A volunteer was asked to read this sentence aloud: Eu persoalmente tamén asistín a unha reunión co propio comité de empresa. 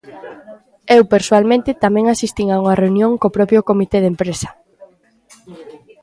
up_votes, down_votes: 1, 2